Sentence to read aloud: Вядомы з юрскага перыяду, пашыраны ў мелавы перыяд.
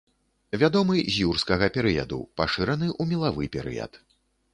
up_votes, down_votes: 1, 2